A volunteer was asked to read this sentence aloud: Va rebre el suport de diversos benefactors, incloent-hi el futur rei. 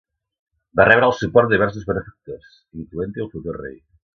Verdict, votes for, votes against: accepted, 2, 1